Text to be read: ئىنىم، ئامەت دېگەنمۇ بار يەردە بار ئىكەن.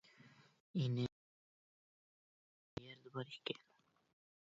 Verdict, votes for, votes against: rejected, 0, 2